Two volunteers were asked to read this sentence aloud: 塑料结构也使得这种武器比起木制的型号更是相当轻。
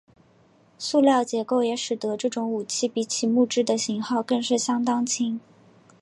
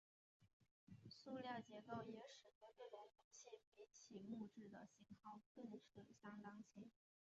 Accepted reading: first